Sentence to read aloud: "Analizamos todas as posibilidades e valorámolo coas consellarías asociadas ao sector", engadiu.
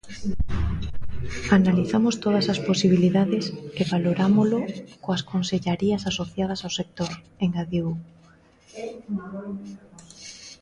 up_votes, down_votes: 2, 1